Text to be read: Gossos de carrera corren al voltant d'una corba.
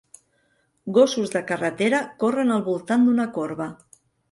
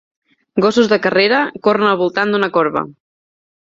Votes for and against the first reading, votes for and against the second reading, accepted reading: 1, 2, 2, 0, second